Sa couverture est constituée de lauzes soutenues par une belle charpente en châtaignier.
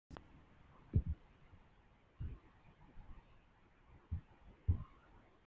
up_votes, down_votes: 1, 2